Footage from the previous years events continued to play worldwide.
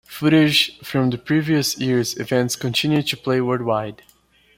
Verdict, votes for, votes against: accepted, 2, 0